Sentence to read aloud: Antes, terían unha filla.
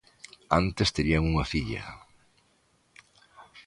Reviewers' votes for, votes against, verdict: 2, 0, accepted